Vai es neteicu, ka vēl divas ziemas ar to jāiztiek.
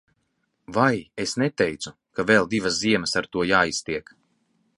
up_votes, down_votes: 2, 0